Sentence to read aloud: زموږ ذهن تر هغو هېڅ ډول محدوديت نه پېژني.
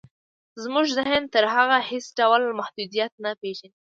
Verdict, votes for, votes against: accepted, 2, 1